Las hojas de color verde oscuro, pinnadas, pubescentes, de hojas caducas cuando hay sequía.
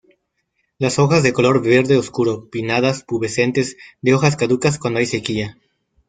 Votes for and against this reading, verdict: 2, 0, accepted